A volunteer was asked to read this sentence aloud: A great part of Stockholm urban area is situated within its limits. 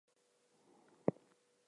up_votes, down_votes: 0, 4